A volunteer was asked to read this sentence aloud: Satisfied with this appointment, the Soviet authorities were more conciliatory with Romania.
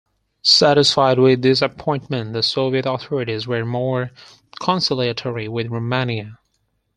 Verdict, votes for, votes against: rejected, 2, 4